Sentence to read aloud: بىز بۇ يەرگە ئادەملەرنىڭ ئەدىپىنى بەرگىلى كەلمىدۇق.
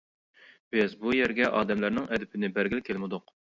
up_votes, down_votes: 2, 0